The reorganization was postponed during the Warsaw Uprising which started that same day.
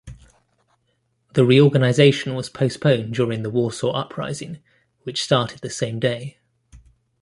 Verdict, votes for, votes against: rejected, 1, 2